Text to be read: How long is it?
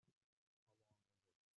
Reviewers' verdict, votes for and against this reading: rejected, 0, 3